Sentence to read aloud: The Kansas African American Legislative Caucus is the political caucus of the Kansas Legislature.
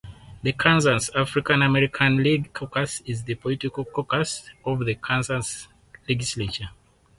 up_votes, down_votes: 0, 4